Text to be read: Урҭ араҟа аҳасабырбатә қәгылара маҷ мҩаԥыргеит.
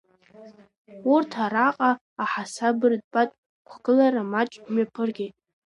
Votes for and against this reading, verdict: 0, 2, rejected